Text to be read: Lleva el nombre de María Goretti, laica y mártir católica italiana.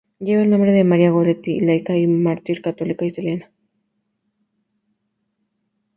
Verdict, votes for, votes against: accepted, 2, 0